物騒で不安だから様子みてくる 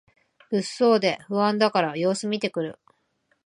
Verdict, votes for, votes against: accepted, 2, 1